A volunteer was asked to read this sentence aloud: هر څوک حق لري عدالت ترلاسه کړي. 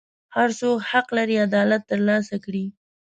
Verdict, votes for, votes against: accepted, 2, 0